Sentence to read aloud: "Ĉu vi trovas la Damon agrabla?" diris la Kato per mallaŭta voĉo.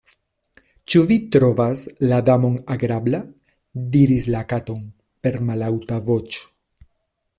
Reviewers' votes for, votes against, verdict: 0, 2, rejected